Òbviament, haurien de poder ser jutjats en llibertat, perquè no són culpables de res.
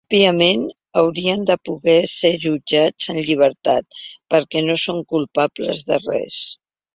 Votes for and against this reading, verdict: 1, 3, rejected